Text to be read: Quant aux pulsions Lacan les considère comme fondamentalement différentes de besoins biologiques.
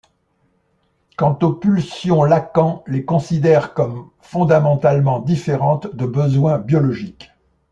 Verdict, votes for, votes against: accepted, 2, 0